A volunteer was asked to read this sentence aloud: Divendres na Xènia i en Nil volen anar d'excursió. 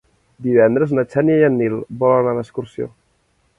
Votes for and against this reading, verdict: 3, 0, accepted